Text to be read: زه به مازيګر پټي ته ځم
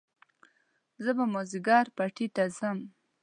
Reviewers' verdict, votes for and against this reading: accepted, 2, 0